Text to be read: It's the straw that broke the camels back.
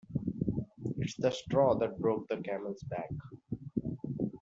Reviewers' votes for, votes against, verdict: 0, 2, rejected